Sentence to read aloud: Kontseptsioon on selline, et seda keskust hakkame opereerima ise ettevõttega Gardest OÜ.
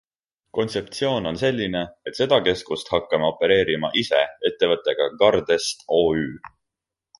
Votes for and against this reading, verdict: 1, 2, rejected